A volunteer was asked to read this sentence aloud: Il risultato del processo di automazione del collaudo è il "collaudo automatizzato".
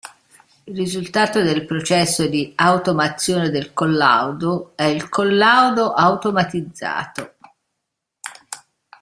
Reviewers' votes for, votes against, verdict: 2, 0, accepted